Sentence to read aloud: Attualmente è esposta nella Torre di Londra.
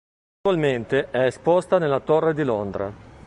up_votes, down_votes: 1, 2